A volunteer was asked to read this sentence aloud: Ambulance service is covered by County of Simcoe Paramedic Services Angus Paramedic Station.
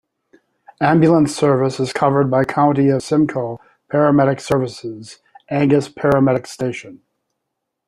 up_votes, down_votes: 2, 0